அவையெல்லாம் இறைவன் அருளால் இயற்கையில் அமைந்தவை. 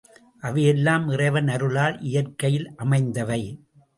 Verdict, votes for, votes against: accepted, 2, 0